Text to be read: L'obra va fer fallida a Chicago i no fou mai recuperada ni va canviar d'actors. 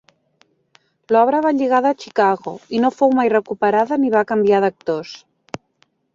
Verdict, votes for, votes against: rejected, 0, 3